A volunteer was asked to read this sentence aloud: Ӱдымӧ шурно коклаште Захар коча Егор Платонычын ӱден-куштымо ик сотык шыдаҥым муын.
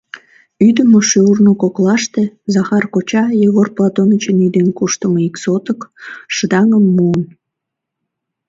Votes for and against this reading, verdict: 2, 0, accepted